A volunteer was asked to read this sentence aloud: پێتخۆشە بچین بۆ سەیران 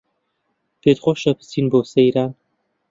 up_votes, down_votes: 2, 0